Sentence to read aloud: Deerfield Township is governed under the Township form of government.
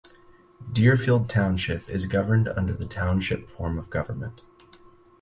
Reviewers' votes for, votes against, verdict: 4, 0, accepted